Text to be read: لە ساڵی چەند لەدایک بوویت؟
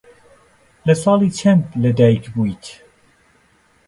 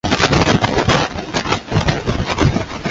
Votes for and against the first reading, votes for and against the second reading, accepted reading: 2, 0, 0, 2, first